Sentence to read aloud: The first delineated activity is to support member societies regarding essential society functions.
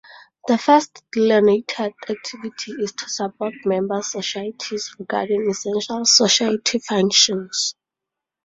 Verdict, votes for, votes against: rejected, 0, 4